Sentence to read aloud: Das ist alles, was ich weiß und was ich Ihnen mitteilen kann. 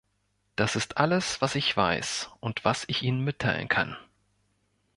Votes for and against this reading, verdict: 2, 0, accepted